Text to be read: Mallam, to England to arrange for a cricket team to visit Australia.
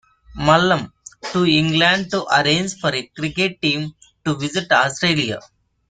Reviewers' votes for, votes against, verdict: 2, 3, rejected